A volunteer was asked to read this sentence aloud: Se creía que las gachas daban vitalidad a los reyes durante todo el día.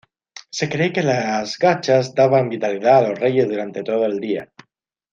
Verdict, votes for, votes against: rejected, 0, 2